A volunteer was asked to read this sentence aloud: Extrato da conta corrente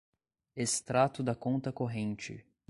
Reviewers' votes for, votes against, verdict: 2, 0, accepted